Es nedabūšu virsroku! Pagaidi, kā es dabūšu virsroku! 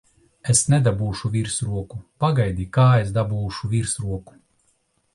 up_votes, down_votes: 2, 0